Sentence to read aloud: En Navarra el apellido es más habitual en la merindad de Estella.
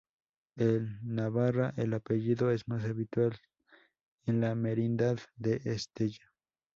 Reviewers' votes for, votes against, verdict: 2, 0, accepted